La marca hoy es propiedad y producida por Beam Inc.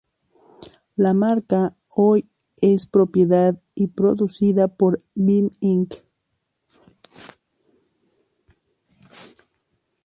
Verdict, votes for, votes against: accepted, 2, 0